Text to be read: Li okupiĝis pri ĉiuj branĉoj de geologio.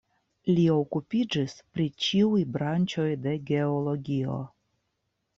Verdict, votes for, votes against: accepted, 2, 0